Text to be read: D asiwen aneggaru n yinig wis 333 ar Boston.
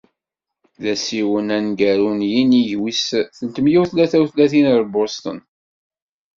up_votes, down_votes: 0, 2